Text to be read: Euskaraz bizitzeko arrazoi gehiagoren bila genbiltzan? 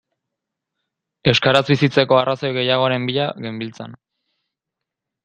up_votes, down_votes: 0, 3